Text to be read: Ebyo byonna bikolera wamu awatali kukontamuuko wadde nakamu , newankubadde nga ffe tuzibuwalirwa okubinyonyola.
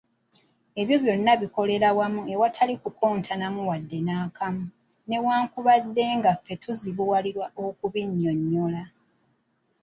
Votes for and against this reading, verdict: 2, 1, accepted